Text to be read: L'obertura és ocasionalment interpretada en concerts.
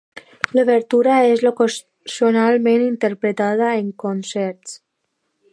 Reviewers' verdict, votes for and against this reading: rejected, 0, 2